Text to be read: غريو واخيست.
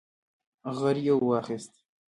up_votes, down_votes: 0, 2